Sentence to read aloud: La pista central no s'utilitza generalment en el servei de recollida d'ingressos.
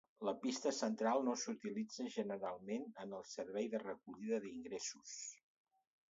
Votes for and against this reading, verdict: 2, 0, accepted